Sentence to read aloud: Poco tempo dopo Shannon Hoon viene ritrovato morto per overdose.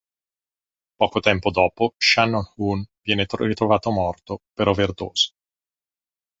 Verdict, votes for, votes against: rejected, 1, 2